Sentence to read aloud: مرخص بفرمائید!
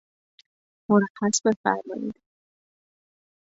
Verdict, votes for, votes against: rejected, 1, 2